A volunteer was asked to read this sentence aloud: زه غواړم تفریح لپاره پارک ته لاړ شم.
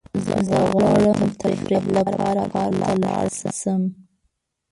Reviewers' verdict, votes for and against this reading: rejected, 1, 2